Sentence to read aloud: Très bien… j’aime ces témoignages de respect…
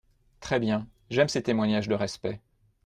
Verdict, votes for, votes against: accepted, 2, 0